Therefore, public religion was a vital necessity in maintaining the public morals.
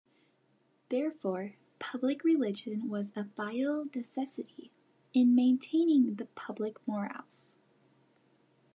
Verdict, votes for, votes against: rejected, 0, 2